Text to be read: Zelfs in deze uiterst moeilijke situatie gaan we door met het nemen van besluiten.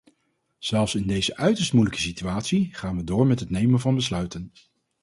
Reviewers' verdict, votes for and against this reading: accepted, 4, 0